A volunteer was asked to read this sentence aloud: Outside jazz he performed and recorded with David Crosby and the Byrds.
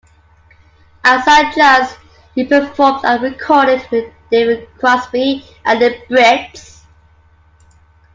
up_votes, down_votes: 0, 2